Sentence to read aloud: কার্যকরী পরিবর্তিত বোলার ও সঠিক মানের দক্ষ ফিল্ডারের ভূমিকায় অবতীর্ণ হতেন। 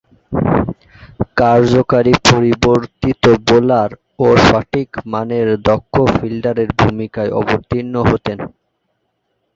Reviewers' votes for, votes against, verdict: 0, 2, rejected